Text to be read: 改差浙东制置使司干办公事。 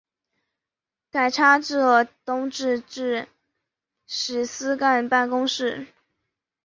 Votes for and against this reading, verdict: 2, 1, accepted